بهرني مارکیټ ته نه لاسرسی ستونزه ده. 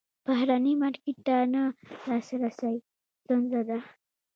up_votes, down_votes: 0, 2